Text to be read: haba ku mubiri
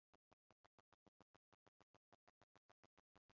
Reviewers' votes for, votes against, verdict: 0, 2, rejected